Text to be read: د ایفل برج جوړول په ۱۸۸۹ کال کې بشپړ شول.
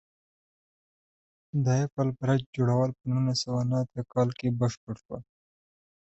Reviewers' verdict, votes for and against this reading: rejected, 0, 2